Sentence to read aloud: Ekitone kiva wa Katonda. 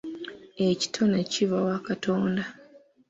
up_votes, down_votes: 2, 0